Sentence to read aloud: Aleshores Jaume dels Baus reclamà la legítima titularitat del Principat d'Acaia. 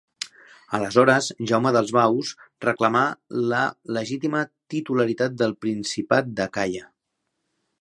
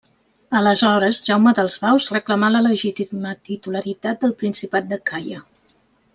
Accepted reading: first